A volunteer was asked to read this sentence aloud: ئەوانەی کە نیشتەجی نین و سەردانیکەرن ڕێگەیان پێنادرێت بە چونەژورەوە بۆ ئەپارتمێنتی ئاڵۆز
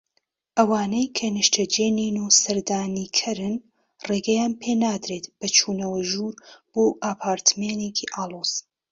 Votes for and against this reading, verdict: 0, 2, rejected